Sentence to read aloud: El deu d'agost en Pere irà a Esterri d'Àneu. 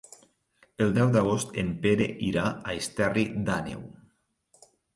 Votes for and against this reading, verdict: 3, 0, accepted